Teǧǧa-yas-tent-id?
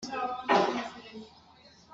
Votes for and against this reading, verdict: 0, 2, rejected